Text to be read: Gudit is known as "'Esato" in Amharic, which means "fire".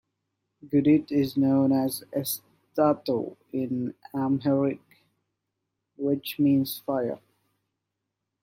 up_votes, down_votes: 1, 2